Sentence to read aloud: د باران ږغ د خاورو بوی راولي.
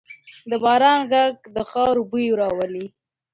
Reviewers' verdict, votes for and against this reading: rejected, 1, 2